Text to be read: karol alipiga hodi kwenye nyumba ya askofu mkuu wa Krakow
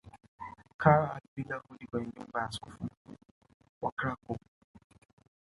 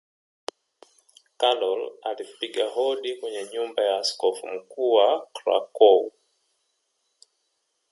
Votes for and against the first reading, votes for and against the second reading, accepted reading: 1, 2, 3, 1, second